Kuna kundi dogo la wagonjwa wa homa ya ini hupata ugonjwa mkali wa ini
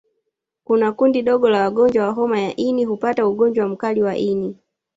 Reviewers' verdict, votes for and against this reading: accepted, 2, 1